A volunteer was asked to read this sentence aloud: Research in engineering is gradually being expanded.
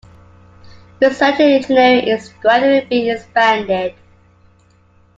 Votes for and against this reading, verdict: 2, 0, accepted